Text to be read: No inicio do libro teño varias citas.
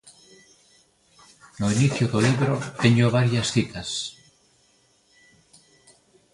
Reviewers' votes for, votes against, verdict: 1, 2, rejected